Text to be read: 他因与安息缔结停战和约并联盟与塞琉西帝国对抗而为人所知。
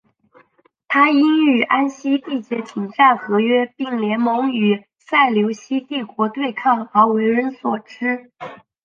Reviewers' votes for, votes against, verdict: 3, 0, accepted